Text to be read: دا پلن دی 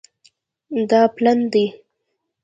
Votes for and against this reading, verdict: 2, 1, accepted